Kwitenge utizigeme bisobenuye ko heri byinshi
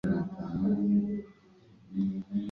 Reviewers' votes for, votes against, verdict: 0, 2, rejected